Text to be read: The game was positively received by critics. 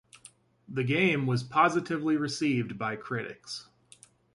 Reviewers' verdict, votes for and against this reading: accepted, 2, 0